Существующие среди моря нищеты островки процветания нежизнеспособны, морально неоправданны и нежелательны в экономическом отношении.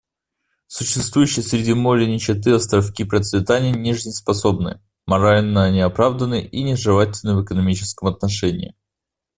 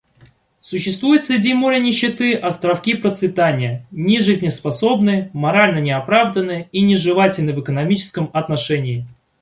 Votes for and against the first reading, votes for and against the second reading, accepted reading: 2, 0, 0, 2, first